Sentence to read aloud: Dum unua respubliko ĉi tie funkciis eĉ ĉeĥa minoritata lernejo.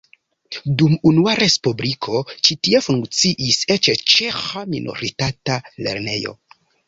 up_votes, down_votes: 1, 2